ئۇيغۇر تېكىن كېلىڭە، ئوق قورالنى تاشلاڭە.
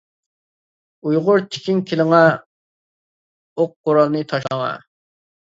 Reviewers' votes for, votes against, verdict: 0, 2, rejected